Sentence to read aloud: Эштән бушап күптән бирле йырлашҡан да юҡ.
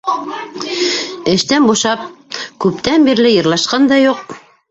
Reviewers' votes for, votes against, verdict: 0, 2, rejected